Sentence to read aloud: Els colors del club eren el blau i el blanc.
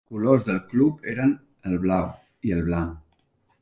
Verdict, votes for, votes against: accepted, 5, 0